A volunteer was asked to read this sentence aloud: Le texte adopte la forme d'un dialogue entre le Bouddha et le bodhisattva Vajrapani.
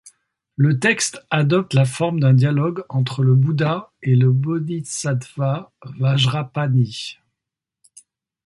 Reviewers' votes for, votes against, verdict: 0, 4, rejected